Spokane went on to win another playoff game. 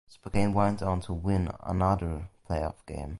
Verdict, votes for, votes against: accepted, 2, 1